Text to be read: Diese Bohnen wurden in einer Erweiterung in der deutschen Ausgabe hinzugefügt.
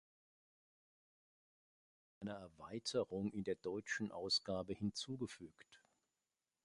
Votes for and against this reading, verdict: 0, 2, rejected